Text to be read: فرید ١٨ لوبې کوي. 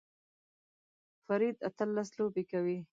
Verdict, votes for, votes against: rejected, 0, 2